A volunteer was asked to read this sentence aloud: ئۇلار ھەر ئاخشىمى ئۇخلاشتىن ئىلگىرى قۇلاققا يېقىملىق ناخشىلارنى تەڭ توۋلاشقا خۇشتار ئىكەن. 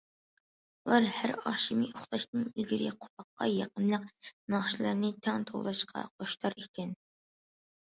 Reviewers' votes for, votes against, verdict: 2, 0, accepted